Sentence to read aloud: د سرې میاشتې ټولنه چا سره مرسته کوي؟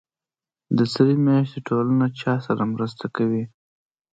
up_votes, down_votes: 2, 0